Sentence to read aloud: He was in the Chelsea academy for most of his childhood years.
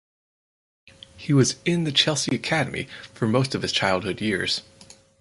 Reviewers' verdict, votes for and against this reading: accepted, 4, 0